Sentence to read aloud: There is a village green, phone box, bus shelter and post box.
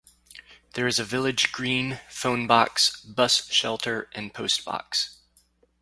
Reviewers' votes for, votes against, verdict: 2, 2, rejected